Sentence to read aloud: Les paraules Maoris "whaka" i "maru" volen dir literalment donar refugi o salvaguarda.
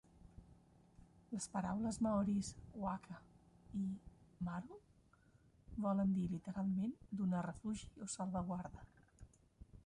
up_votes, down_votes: 0, 2